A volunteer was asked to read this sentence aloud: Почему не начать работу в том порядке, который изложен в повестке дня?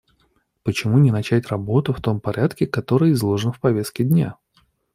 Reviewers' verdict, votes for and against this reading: accepted, 2, 0